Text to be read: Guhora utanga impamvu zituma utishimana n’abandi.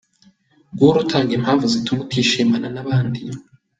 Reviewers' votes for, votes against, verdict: 2, 0, accepted